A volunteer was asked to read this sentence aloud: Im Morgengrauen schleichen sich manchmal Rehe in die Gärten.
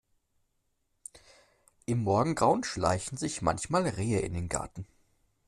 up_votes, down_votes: 0, 2